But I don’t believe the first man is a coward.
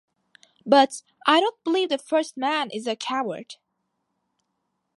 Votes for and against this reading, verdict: 2, 0, accepted